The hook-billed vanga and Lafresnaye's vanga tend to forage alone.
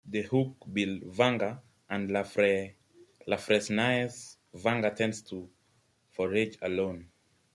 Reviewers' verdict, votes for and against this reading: rejected, 1, 2